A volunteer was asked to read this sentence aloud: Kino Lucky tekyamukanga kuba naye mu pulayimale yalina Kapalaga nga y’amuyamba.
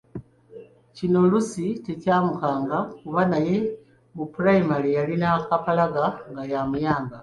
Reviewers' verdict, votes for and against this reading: rejected, 1, 2